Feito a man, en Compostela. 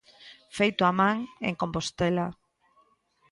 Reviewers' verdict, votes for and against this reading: accepted, 2, 0